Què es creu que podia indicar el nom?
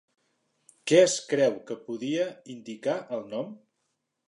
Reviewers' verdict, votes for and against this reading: accepted, 4, 0